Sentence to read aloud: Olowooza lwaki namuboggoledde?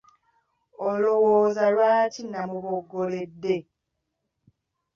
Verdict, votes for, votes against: accepted, 2, 0